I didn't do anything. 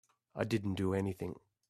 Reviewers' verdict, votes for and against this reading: accepted, 2, 0